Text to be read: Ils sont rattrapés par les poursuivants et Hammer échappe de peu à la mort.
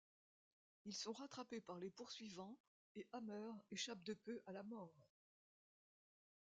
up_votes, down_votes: 3, 0